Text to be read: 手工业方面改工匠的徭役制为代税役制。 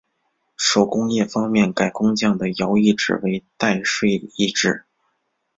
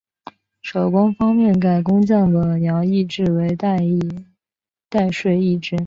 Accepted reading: first